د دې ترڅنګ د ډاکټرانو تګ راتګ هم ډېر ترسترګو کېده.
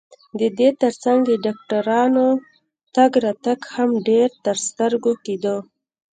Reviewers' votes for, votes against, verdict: 0, 2, rejected